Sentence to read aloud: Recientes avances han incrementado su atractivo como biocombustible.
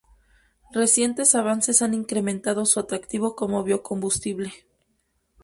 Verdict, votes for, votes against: accepted, 2, 0